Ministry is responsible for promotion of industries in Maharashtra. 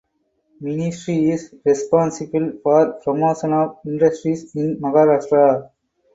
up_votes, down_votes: 0, 4